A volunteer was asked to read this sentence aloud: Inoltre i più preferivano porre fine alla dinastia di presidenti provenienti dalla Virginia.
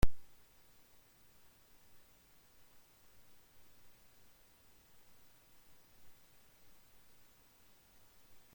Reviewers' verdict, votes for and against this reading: rejected, 0, 2